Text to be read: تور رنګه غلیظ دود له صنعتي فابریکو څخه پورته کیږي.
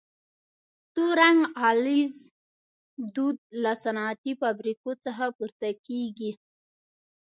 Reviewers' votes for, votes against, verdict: 2, 0, accepted